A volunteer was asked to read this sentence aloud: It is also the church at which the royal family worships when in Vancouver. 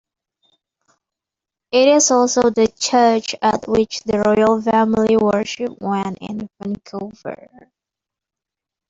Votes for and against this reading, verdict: 2, 0, accepted